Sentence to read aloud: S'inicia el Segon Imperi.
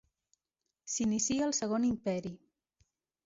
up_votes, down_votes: 3, 0